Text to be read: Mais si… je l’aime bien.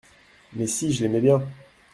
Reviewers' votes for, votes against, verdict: 1, 2, rejected